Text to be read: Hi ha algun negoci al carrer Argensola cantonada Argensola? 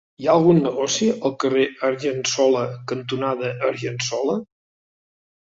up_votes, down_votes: 2, 0